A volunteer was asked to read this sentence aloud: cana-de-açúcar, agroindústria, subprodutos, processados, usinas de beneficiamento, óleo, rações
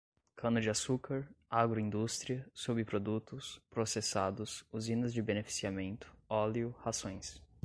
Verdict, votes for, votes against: accepted, 2, 0